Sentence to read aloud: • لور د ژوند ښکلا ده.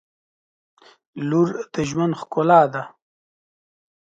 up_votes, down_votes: 2, 0